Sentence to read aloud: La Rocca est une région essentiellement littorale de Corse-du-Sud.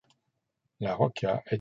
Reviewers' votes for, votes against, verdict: 0, 2, rejected